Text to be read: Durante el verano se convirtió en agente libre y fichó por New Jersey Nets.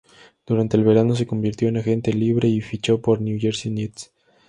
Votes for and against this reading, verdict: 2, 0, accepted